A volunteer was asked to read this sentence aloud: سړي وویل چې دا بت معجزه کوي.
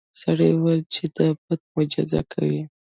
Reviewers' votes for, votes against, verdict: 2, 1, accepted